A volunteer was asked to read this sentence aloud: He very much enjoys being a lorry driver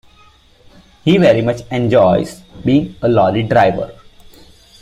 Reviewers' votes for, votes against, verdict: 1, 2, rejected